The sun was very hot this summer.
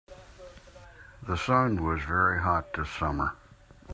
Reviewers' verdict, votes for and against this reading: accepted, 2, 0